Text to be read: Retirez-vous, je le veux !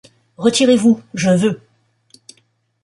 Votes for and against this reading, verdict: 0, 2, rejected